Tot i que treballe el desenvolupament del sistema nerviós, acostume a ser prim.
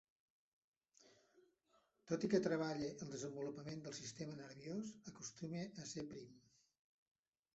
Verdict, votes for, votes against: rejected, 0, 2